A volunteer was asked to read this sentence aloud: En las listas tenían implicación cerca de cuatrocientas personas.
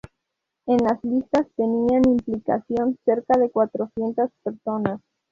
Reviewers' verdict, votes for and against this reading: rejected, 0, 2